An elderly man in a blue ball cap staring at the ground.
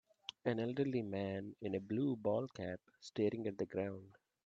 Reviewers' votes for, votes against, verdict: 1, 2, rejected